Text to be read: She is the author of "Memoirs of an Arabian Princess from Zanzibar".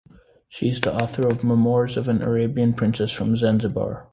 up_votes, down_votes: 2, 1